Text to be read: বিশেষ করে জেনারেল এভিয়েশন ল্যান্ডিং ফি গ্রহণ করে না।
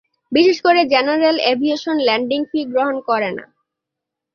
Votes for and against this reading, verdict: 2, 0, accepted